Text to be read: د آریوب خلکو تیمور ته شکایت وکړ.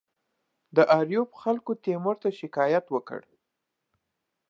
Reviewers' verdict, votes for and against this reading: accepted, 2, 0